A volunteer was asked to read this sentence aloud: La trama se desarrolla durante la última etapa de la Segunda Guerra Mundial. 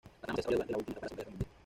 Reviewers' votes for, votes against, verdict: 1, 2, rejected